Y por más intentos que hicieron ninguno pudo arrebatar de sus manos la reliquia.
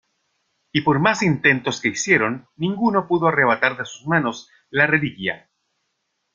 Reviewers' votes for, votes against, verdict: 3, 0, accepted